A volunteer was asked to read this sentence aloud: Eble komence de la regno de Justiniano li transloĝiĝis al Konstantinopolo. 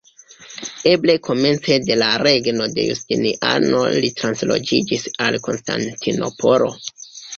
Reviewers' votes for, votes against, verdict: 2, 1, accepted